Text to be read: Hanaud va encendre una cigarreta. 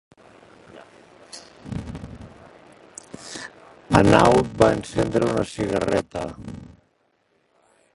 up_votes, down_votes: 2, 0